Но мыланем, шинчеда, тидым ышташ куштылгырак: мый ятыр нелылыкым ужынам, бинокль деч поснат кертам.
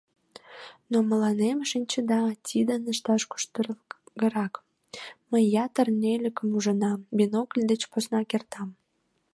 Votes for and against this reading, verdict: 0, 2, rejected